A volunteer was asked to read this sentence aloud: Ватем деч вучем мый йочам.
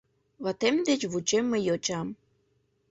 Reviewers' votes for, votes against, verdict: 2, 0, accepted